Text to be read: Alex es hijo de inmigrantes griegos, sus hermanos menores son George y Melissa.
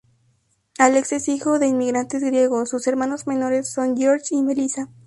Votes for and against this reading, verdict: 2, 0, accepted